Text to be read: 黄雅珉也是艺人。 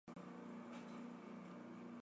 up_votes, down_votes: 1, 3